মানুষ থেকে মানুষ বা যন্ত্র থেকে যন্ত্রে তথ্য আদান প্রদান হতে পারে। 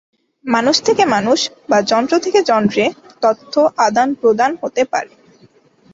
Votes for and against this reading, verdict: 4, 0, accepted